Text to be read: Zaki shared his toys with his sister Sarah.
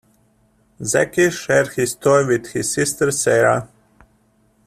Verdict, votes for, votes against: rejected, 0, 2